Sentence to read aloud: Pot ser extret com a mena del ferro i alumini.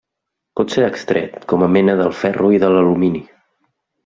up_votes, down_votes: 1, 2